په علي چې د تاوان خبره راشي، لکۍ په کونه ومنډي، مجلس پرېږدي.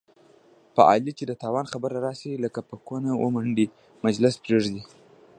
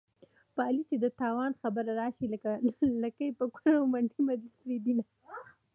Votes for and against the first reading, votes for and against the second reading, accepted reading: 0, 2, 2, 0, second